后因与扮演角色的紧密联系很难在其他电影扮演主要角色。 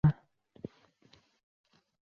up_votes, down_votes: 2, 0